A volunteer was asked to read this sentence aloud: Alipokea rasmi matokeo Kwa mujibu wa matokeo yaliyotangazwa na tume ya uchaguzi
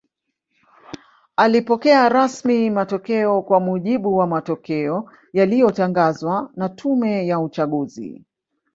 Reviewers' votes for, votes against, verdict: 1, 2, rejected